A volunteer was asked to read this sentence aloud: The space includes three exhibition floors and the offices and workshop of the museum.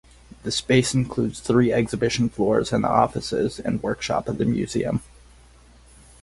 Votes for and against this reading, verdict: 2, 2, rejected